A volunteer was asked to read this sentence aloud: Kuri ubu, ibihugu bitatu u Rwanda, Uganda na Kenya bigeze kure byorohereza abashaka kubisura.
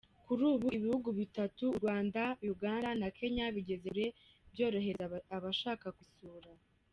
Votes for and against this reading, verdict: 1, 2, rejected